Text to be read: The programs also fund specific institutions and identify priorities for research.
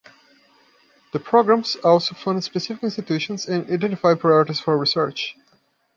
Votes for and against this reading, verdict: 2, 0, accepted